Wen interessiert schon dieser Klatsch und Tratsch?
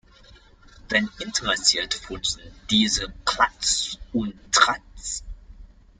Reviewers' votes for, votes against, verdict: 0, 2, rejected